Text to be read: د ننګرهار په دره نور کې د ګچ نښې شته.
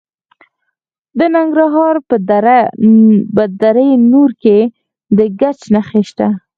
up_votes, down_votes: 0, 4